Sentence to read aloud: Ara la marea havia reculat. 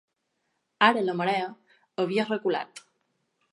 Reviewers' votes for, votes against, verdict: 2, 0, accepted